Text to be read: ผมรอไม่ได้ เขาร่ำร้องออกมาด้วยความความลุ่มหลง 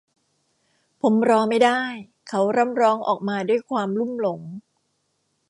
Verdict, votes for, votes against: accepted, 2, 0